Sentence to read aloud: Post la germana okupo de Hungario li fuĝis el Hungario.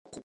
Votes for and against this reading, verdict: 1, 3, rejected